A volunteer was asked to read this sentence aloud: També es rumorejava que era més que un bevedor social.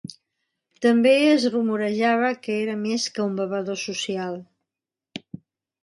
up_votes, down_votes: 2, 0